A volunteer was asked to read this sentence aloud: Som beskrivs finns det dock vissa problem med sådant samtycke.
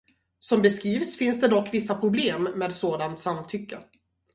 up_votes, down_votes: 0, 2